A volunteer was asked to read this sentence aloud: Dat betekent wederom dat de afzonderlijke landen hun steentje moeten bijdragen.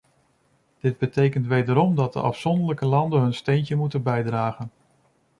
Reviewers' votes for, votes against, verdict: 0, 2, rejected